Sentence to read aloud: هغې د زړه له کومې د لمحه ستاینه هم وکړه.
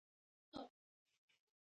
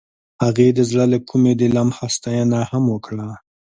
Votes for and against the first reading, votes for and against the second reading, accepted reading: 1, 2, 2, 0, second